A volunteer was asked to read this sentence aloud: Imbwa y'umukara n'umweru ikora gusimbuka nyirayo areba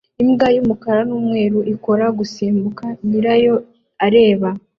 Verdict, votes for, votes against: accepted, 2, 0